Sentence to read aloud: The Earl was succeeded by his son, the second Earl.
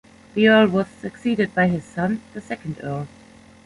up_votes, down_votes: 2, 0